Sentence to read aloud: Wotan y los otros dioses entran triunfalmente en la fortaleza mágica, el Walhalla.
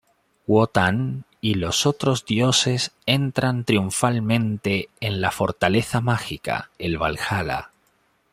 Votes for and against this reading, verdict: 2, 1, accepted